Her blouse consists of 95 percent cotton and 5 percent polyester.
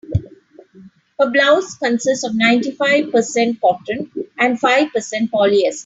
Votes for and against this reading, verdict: 0, 2, rejected